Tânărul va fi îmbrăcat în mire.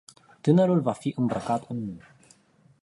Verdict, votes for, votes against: rejected, 0, 2